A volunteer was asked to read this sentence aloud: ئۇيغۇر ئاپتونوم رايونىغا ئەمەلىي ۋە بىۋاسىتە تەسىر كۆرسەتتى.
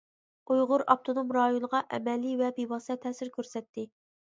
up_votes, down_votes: 2, 0